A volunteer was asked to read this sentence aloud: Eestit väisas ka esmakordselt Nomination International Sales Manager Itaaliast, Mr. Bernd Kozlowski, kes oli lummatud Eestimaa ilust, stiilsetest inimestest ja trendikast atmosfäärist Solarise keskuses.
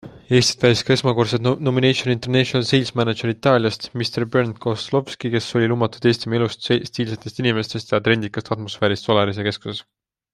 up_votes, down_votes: 2, 0